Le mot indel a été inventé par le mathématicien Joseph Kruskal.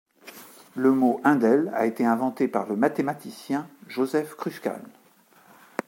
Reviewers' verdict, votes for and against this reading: rejected, 0, 2